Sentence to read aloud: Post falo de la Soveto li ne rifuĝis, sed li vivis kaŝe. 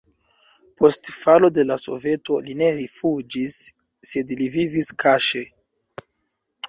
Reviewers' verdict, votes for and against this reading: accepted, 2, 1